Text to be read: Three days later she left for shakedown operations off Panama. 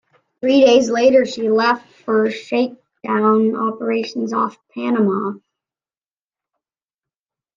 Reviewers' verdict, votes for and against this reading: accepted, 2, 1